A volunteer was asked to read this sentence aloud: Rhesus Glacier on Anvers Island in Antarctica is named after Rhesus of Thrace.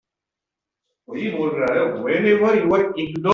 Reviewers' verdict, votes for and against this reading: rejected, 0, 2